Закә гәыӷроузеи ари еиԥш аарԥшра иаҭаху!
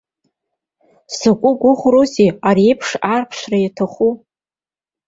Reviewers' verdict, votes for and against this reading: rejected, 0, 2